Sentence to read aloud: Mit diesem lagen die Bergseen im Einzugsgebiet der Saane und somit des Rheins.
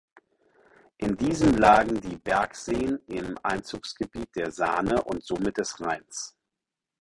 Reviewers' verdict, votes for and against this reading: rejected, 2, 4